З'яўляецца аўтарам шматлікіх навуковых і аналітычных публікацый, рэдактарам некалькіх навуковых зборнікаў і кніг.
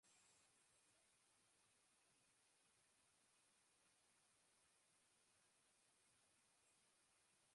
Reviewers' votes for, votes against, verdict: 0, 2, rejected